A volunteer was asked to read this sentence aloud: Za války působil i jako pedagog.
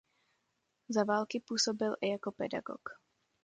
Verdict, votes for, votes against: accepted, 2, 0